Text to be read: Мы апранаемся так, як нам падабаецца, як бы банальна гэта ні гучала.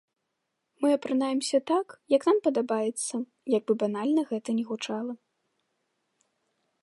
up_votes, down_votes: 2, 0